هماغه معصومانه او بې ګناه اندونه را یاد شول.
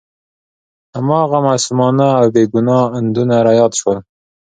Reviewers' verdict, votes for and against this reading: accepted, 2, 0